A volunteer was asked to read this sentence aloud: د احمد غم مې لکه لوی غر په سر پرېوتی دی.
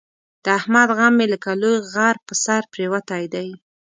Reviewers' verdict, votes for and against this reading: accepted, 2, 0